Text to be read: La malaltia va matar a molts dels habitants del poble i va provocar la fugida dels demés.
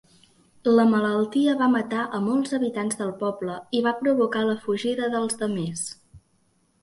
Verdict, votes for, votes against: rejected, 0, 4